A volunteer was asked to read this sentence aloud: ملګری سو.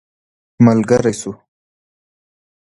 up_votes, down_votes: 2, 0